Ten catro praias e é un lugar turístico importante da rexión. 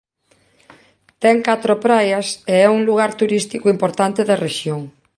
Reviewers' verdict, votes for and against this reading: accepted, 2, 0